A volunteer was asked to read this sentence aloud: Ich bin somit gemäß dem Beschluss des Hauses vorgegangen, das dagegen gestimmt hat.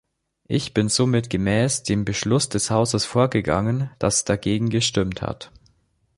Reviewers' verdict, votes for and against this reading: accepted, 3, 0